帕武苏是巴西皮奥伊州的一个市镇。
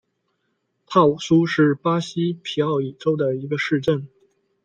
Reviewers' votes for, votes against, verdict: 2, 0, accepted